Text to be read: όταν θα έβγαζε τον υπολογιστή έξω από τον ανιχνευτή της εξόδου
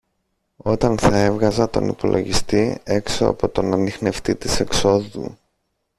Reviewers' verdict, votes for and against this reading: rejected, 0, 2